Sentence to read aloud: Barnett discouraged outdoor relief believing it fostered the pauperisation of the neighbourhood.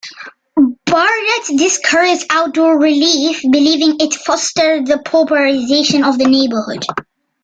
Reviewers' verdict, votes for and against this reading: accepted, 2, 1